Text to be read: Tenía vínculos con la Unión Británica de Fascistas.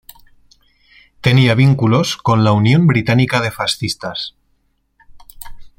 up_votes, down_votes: 2, 0